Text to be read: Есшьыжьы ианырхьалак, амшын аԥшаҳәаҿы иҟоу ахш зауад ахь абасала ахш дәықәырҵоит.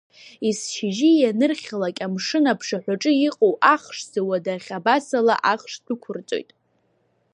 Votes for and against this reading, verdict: 2, 0, accepted